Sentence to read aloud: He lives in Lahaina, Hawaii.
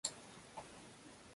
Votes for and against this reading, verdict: 0, 2, rejected